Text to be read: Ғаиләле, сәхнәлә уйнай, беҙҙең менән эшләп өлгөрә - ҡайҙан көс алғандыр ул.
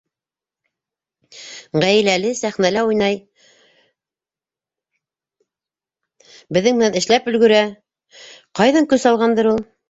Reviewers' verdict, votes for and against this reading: rejected, 1, 2